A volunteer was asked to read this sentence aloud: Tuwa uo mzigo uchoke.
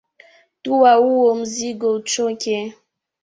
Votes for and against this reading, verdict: 3, 0, accepted